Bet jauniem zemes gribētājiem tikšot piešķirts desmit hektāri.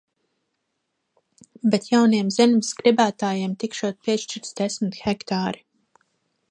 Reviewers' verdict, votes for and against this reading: accepted, 2, 0